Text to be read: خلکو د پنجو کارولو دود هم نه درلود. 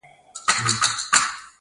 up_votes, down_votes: 0, 2